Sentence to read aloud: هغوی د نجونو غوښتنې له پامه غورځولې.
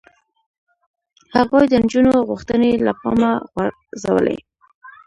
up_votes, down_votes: 0, 2